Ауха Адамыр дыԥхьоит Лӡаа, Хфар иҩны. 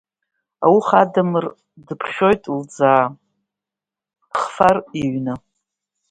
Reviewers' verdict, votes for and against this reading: accepted, 2, 1